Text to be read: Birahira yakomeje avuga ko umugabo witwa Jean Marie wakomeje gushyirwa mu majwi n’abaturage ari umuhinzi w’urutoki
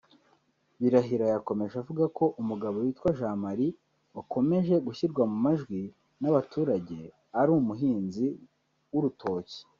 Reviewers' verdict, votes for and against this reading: rejected, 0, 2